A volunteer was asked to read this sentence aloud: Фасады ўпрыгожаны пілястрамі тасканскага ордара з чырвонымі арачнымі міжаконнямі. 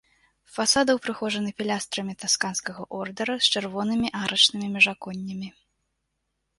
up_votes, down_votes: 2, 0